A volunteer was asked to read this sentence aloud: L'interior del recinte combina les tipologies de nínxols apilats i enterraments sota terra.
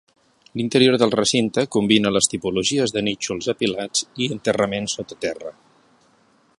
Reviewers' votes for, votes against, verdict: 2, 0, accepted